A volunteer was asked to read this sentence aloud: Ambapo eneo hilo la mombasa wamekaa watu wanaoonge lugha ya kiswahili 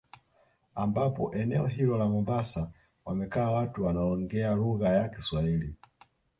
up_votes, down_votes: 0, 2